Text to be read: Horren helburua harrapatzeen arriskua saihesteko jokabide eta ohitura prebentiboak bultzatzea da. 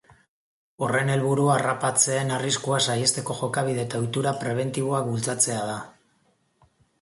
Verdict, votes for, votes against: accepted, 3, 0